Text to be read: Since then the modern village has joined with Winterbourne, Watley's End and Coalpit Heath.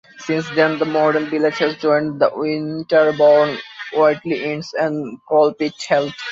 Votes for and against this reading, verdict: 0, 2, rejected